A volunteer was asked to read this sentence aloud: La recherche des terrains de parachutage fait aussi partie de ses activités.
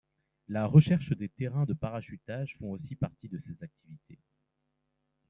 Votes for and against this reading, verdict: 2, 1, accepted